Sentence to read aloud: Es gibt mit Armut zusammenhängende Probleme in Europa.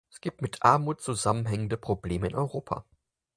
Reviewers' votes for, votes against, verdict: 4, 0, accepted